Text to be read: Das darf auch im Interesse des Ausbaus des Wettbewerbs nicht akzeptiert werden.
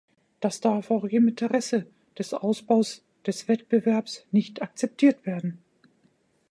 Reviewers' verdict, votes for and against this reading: rejected, 1, 2